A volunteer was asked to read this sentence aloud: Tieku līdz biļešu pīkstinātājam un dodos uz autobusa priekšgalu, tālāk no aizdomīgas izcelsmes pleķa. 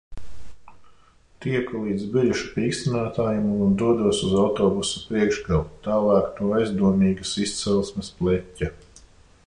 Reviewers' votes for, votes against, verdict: 2, 0, accepted